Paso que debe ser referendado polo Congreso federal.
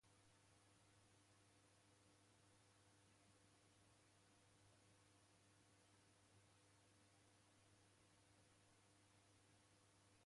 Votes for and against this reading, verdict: 0, 2, rejected